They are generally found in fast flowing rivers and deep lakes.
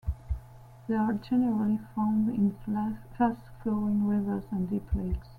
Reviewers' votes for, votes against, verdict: 0, 3, rejected